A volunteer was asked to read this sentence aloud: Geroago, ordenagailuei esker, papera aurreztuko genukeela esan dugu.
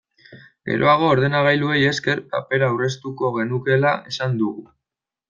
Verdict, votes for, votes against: rejected, 1, 2